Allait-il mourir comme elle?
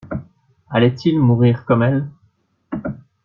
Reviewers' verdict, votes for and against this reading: accepted, 2, 0